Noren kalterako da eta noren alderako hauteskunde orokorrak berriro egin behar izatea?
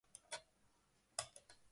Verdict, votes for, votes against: rejected, 0, 2